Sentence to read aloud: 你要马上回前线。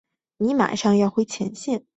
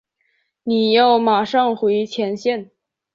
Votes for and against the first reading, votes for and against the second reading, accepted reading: 1, 2, 3, 0, second